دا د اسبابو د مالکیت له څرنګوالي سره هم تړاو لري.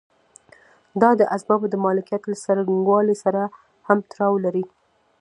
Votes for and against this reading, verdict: 1, 2, rejected